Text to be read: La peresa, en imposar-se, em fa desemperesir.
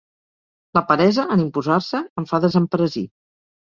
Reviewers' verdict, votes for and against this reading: accepted, 2, 0